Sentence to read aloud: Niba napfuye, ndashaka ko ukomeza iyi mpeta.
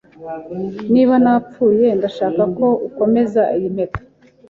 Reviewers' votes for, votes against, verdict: 2, 0, accepted